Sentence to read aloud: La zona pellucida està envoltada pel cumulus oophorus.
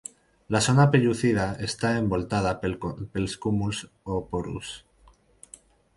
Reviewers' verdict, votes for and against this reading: rejected, 0, 4